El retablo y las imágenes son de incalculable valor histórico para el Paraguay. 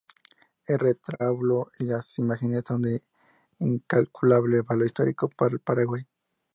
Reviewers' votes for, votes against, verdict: 0, 2, rejected